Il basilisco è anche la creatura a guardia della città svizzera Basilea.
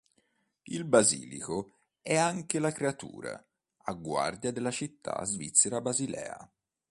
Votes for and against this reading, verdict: 1, 2, rejected